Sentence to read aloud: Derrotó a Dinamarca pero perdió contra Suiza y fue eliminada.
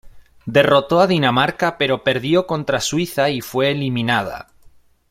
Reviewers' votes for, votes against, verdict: 2, 0, accepted